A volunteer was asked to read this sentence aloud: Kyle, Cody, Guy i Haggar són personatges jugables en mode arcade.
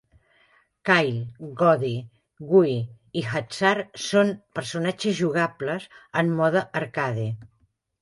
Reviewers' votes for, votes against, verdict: 0, 2, rejected